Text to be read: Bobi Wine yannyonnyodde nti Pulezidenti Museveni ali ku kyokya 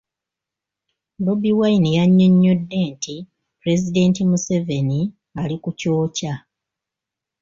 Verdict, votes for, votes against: accepted, 3, 0